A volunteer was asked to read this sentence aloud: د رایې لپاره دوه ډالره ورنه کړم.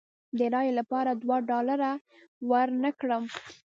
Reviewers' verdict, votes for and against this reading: rejected, 0, 2